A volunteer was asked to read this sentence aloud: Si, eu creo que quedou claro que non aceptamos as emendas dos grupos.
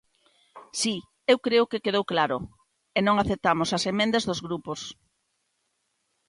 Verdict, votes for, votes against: rejected, 1, 3